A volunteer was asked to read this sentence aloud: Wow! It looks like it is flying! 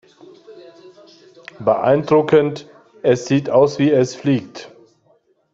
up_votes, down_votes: 0, 2